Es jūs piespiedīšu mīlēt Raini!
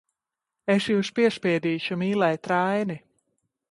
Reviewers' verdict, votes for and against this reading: rejected, 0, 2